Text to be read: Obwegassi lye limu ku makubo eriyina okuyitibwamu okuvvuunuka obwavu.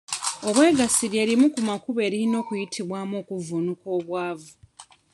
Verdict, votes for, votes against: accepted, 2, 0